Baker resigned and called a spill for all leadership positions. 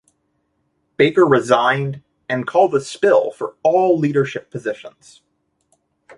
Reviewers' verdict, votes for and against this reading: accepted, 2, 0